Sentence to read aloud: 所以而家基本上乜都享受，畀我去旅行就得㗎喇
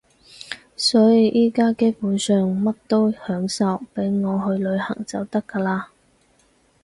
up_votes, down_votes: 2, 4